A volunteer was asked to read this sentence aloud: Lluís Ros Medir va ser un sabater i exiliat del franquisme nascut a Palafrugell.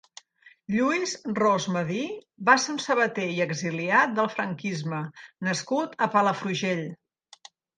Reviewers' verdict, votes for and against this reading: accepted, 3, 0